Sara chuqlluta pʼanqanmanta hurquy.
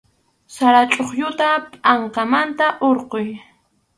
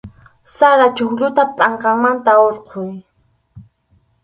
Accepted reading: second